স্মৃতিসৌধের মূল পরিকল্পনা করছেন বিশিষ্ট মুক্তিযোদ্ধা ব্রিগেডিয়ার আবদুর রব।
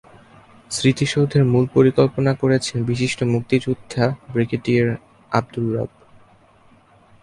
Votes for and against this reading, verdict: 2, 0, accepted